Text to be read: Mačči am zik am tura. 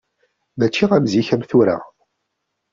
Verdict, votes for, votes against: accepted, 2, 0